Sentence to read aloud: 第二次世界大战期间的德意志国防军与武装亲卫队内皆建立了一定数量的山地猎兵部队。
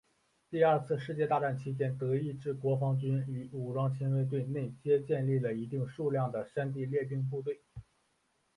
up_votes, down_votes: 4, 3